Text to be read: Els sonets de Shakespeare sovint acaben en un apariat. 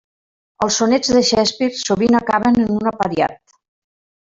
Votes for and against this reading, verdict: 0, 2, rejected